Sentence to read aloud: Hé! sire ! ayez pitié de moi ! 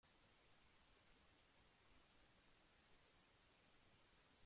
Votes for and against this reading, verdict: 0, 2, rejected